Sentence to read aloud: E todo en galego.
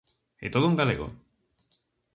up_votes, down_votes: 2, 0